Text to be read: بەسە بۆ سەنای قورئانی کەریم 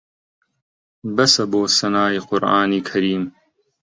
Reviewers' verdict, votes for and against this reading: accepted, 2, 0